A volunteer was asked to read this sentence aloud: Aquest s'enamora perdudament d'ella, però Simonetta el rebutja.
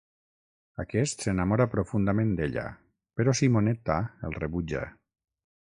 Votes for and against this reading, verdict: 3, 6, rejected